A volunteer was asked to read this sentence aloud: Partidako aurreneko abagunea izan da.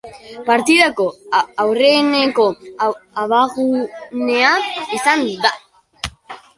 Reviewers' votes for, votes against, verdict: 0, 2, rejected